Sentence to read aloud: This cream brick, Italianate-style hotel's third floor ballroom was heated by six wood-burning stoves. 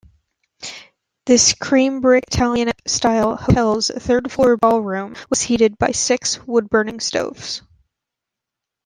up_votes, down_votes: 1, 2